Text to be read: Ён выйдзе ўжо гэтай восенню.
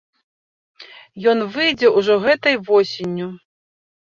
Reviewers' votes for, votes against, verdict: 2, 0, accepted